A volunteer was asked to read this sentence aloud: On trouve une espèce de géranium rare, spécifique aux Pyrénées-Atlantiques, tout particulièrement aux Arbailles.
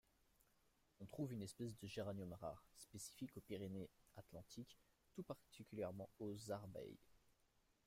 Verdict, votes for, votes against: accepted, 2, 1